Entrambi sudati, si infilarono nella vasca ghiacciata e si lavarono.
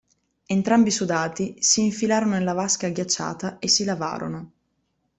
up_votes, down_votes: 2, 0